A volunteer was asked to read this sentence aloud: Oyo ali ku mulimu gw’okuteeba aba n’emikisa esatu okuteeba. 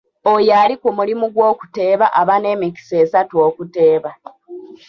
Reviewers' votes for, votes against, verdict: 1, 2, rejected